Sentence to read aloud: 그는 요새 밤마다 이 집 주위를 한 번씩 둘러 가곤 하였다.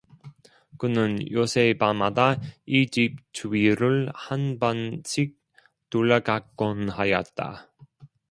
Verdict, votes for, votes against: rejected, 0, 2